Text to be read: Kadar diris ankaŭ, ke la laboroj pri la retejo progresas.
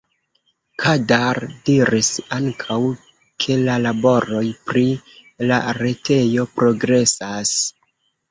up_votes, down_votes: 1, 2